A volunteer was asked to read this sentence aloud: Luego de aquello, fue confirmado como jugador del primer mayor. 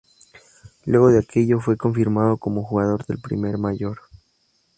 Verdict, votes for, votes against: accepted, 2, 0